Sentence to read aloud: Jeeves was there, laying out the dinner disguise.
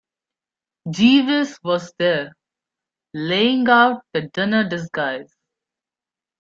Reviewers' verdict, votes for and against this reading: accepted, 2, 0